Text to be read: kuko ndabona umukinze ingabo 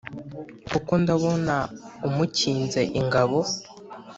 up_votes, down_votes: 2, 0